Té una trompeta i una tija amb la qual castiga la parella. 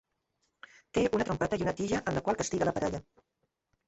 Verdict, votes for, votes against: accepted, 2, 0